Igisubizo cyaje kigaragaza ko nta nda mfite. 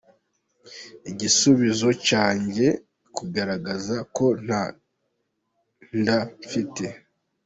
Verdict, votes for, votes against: rejected, 1, 2